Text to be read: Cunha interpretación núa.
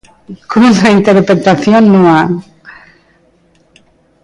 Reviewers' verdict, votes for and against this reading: rejected, 1, 2